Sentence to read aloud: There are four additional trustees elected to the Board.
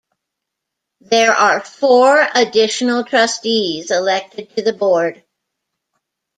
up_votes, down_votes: 2, 0